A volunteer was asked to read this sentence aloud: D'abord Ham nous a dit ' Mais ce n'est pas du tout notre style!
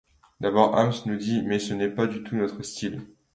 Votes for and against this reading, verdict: 1, 2, rejected